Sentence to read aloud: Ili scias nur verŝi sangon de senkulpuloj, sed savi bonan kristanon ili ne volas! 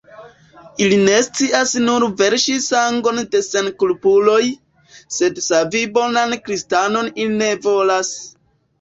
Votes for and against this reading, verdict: 2, 1, accepted